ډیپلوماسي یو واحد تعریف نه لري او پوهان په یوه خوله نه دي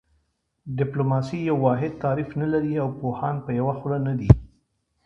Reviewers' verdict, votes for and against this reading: accepted, 2, 0